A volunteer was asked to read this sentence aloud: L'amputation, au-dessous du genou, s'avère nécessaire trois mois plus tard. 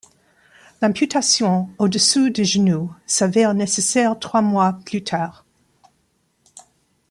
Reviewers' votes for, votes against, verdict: 1, 2, rejected